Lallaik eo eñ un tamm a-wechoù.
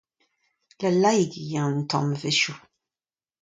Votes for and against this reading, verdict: 2, 0, accepted